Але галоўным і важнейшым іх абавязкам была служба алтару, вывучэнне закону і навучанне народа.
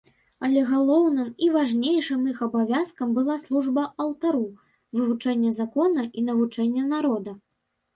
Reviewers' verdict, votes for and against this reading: rejected, 1, 2